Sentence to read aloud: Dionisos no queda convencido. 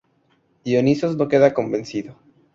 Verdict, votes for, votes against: rejected, 2, 2